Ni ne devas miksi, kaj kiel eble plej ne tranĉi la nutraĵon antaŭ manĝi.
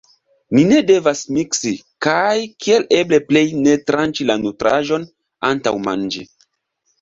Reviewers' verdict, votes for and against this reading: accepted, 2, 0